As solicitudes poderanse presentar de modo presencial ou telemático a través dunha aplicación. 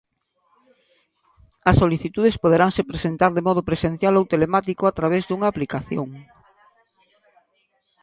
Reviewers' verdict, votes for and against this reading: rejected, 1, 2